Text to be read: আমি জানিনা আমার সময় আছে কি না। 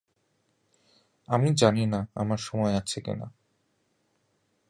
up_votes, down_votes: 2, 0